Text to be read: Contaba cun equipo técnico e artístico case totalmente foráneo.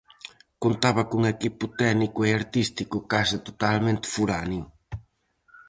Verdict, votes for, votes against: accepted, 4, 0